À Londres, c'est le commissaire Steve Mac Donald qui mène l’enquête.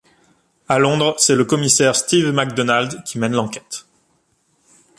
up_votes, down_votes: 2, 0